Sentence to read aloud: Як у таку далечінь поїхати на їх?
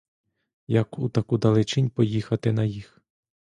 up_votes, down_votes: 2, 0